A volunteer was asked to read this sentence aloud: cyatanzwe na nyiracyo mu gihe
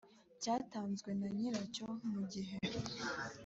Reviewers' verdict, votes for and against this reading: accepted, 3, 1